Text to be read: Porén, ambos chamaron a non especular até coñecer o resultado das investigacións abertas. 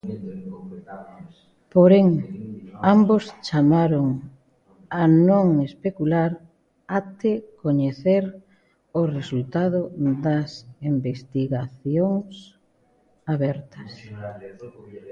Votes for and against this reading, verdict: 2, 1, accepted